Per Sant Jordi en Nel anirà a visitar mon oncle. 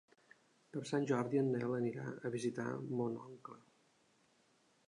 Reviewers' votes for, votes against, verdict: 4, 0, accepted